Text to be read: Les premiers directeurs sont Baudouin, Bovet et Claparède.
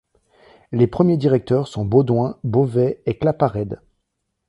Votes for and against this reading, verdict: 2, 0, accepted